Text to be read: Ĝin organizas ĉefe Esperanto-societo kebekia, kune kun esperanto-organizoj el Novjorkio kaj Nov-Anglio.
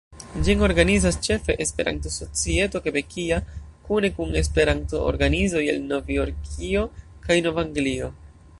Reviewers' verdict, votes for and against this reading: accepted, 2, 0